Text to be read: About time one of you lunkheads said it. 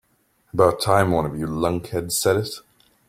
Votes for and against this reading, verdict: 3, 0, accepted